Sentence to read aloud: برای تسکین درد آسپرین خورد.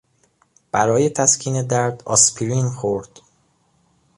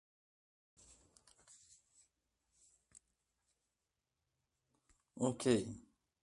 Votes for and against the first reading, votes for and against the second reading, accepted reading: 2, 0, 0, 2, first